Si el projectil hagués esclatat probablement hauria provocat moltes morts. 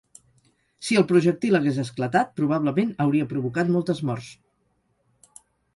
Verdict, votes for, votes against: accepted, 6, 0